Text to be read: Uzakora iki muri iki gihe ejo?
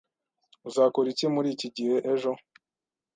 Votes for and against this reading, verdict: 2, 0, accepted